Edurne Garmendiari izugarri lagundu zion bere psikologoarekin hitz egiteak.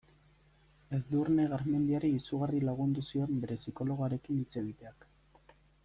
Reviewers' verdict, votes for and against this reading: rejected, 1, 2